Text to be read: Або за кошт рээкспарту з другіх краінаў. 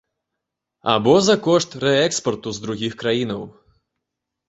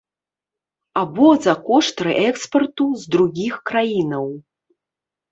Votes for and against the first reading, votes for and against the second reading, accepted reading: 2, 0, 1, 2, first